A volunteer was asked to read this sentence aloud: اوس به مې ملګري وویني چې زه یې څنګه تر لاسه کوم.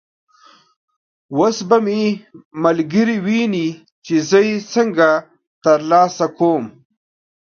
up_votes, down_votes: 0, 2